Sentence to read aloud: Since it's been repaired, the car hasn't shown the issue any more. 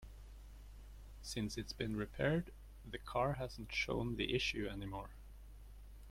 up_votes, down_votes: 2, 0